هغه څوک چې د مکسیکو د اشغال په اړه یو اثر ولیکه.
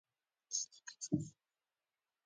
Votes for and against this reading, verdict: 0, 3, rejected